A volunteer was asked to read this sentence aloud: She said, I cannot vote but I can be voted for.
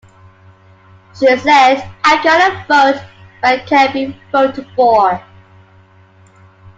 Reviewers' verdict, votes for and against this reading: accepted, 2, 0